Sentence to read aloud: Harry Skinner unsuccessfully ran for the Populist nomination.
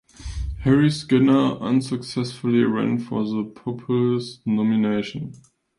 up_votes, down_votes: 2, 0